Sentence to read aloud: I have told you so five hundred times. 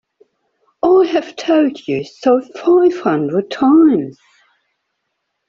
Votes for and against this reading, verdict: 0, 2, rejected